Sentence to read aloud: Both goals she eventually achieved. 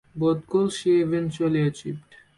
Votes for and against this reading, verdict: 2, 0, accepted